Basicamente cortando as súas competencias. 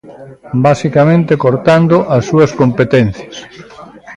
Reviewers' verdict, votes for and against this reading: rejected, 1, 2